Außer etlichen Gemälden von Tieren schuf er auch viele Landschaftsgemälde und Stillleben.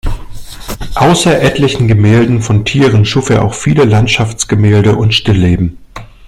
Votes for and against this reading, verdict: 2, 0, accepted